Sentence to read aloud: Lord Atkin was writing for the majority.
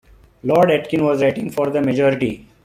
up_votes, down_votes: 1, 2